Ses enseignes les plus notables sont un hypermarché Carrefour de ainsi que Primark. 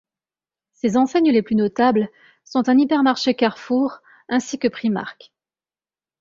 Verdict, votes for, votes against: rejected, 1, 2